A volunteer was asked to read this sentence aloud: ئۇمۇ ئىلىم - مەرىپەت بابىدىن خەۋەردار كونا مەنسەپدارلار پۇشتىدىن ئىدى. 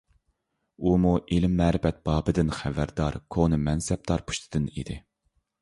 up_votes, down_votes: 0, 2